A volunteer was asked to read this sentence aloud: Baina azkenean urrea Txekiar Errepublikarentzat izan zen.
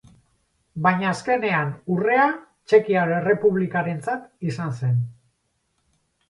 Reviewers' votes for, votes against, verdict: 4, 0, accepted